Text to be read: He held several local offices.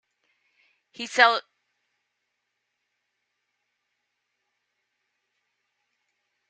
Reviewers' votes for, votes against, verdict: 0, 2, rejected